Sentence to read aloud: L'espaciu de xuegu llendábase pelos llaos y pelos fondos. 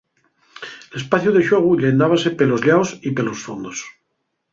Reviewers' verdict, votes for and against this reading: accepted, 4, 0